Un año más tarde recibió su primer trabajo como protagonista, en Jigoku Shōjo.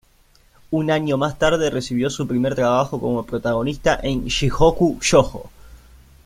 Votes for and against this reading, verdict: 4, 2, accepted